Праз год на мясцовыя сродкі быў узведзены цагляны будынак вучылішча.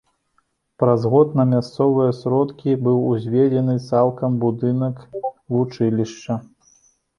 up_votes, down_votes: 0, 2